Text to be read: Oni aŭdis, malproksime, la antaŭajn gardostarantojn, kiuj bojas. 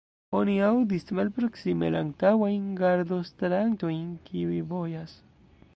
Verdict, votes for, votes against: rejected, 0, 2